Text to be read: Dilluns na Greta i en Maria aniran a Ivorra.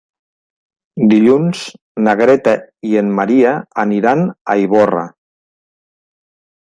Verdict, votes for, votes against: accepted, 4, 0